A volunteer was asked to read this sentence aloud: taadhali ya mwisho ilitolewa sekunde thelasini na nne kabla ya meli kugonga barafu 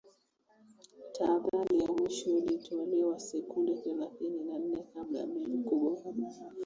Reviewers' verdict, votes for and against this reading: accepted, 2, 1